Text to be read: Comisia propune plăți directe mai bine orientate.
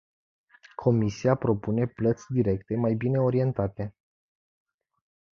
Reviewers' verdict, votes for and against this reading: accepted, 2, 0